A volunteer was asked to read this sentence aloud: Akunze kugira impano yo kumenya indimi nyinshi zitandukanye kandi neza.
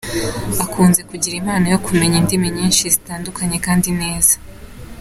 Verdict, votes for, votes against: accepted, 2, 0